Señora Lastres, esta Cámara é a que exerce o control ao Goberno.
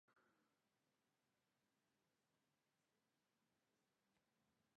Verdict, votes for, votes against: rejected, 0, 2